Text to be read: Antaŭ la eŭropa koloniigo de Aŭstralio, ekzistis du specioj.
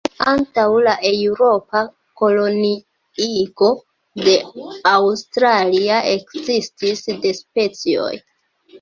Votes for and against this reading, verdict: 2, 1, accepted